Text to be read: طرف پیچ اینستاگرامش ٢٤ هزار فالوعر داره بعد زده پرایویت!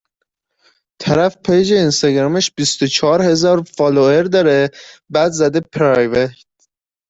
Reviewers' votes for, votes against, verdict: 0, 2, rejected